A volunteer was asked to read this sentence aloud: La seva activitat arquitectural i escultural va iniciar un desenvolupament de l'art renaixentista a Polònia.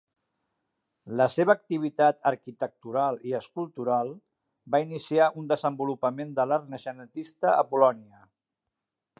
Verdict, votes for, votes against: rejected, 0, 2